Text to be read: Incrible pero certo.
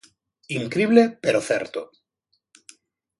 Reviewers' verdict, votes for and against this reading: accepted, 2, 0